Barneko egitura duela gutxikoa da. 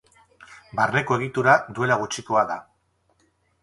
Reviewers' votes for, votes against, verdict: 0, 4, rejected